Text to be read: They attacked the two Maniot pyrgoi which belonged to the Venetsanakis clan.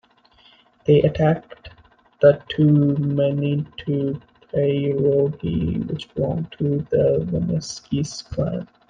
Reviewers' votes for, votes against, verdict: 0, 2, rejected